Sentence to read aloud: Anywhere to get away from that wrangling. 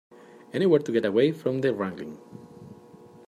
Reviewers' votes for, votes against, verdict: 2, 0, accepted